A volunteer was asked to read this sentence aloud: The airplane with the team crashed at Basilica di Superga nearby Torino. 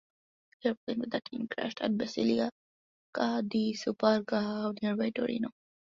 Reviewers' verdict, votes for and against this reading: rejected, 0, 2